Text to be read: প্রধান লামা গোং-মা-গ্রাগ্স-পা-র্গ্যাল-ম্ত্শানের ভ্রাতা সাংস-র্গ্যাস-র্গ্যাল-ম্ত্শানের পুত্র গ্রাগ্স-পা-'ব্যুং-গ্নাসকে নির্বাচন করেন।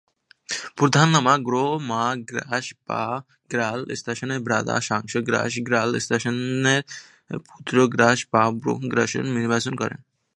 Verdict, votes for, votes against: rejected, 1, 2